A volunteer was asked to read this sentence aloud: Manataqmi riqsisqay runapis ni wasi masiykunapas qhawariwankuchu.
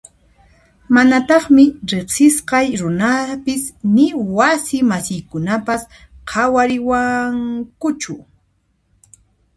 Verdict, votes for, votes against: rejected, 1, 2